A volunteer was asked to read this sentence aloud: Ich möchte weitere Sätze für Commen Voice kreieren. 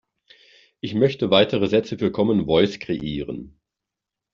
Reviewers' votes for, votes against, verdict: 1, 2, rejected